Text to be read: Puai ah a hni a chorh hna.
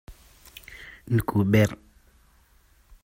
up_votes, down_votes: 1, 2